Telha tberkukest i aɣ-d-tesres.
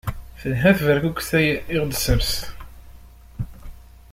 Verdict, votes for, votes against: rejected, 1, 2